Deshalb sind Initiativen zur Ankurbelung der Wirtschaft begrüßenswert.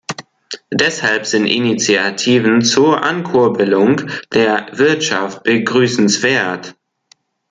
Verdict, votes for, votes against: accepted, 2, 0